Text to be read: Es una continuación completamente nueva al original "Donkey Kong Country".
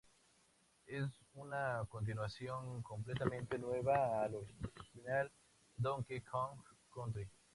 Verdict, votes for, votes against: rejected, 0, 2